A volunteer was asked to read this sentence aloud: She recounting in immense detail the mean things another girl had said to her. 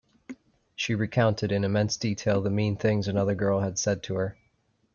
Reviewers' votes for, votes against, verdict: 0, 2, rejected